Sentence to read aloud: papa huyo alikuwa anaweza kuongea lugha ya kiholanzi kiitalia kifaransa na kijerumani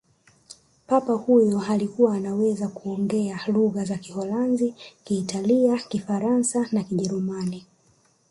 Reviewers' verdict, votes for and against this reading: rejected, 1, 2